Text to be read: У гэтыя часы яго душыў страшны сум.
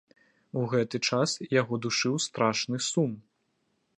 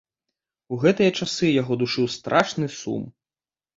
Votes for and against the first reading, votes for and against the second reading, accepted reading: 1, 2, 2, 0, second